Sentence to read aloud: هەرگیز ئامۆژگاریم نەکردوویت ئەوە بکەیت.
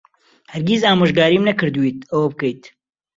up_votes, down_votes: 2, 0